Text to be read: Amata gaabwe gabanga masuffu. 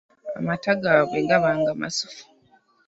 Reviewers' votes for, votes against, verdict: 1, 2, rejected